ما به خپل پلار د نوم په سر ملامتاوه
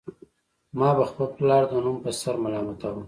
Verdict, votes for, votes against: accepted, 2, 0